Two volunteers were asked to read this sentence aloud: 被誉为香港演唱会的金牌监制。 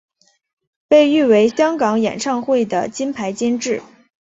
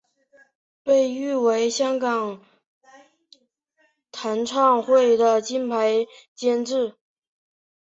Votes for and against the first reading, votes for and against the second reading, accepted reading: 2, 0, 0, 4, first